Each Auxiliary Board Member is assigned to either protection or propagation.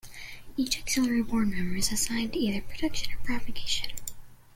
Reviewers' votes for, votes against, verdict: 3, 2, accepted